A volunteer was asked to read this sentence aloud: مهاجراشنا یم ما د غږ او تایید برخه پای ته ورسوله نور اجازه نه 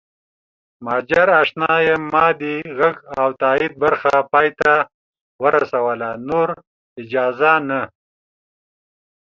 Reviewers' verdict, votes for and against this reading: accepted, 5, 0